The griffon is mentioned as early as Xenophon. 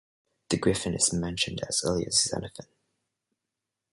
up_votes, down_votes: 2, 0